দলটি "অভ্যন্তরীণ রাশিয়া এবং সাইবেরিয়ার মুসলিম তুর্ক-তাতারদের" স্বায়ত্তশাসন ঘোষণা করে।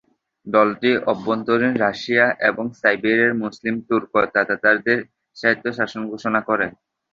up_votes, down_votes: 1, 2